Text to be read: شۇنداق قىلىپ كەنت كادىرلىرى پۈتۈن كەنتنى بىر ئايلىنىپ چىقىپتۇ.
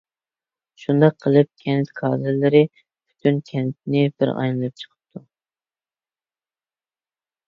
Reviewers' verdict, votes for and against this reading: accepted, 2, 0